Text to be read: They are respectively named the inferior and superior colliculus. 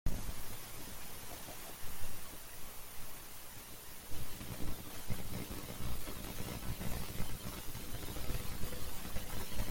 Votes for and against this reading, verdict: 0, 2, rejected